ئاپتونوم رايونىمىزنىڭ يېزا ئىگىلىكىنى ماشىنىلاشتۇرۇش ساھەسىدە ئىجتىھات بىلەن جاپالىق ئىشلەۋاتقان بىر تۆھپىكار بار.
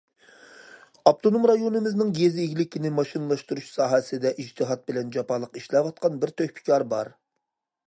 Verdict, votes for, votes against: accepted, 2, 0